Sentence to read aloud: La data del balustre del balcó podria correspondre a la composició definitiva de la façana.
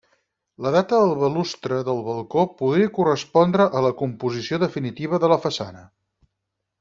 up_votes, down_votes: 0, 4